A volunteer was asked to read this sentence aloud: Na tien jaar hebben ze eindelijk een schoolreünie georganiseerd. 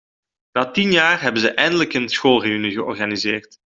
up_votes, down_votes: 2, 1